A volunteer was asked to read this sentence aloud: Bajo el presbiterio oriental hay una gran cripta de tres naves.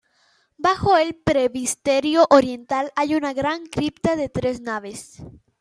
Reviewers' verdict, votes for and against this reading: rejected, 0, 2